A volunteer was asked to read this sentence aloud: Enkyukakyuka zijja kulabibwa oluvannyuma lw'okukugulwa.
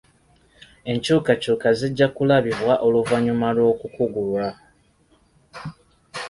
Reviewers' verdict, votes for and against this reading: accepted, 2, 0